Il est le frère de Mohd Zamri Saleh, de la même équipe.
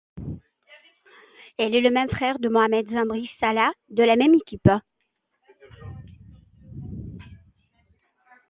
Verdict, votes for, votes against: rejected, 0, 2